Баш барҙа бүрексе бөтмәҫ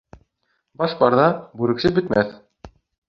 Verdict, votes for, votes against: accepted, 3, 1